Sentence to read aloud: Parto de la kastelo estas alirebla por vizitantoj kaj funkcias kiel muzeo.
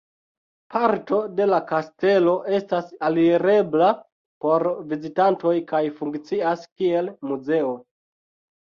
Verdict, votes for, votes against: rejected, 0, 2